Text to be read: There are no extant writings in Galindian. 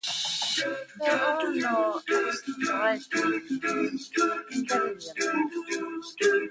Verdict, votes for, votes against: rejected, 0, 2